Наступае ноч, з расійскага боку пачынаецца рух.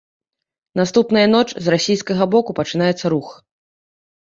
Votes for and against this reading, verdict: 0, 2, rejected